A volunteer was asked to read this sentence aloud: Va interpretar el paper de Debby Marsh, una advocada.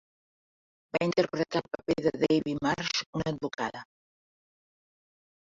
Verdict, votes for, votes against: accepted, 3, 2